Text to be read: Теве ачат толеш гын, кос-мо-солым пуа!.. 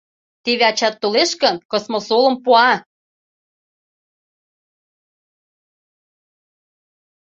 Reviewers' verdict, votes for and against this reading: accepted, 2, 0